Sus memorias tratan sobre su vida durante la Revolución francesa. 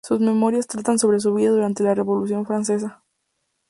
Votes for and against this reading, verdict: 2, 0, accepted